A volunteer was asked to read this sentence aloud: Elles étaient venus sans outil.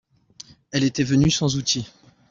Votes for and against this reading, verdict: 0, 2, rejected